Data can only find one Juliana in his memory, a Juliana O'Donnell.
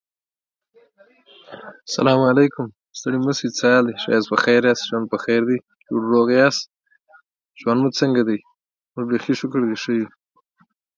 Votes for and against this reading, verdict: 0, 4, rejected